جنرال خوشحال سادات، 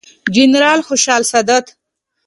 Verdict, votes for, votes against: accepted, 2, 0